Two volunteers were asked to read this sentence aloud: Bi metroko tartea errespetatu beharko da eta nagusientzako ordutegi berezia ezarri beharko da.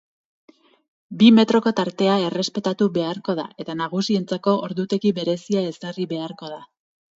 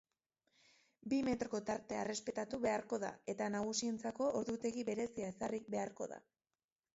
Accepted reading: first